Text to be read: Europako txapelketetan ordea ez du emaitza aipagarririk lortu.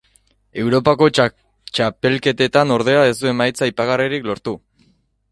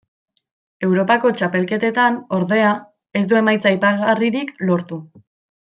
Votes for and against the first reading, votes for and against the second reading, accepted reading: 1, 2, 2, 1, second